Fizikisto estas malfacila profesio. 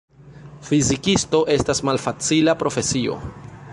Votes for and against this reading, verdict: 2, 0, accepted